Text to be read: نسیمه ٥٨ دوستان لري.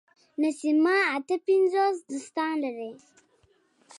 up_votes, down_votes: 0, 2